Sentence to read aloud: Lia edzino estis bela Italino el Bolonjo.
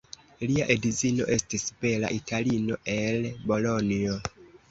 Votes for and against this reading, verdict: 2, 1, accepted